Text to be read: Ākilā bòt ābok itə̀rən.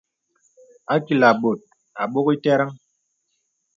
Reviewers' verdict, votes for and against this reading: accepted, 2, 0